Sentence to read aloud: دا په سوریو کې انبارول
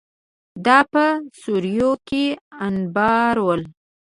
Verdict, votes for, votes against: rejected, 1, 2